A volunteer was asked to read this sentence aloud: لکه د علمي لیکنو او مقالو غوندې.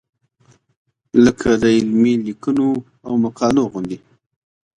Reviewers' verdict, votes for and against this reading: accepted, 2, 0